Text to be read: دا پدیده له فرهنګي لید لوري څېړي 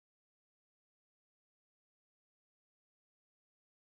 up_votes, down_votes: 1, 2